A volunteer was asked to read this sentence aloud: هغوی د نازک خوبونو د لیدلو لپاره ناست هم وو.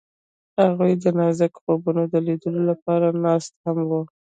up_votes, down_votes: 2, 0